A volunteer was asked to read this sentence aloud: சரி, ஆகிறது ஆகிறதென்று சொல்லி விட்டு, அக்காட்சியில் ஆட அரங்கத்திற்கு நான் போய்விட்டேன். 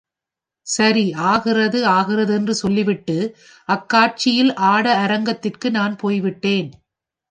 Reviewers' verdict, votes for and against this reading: accepted, 2, 0